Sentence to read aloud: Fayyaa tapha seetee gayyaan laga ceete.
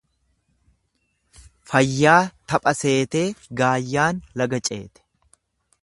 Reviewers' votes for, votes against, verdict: 1, 2, rejected